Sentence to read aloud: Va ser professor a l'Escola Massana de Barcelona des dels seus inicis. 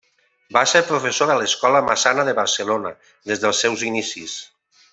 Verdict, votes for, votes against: rejected, 0, 2